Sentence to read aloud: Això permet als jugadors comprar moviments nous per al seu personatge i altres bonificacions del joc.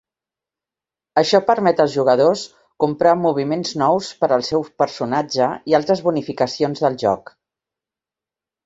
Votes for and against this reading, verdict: 2, 0, accepted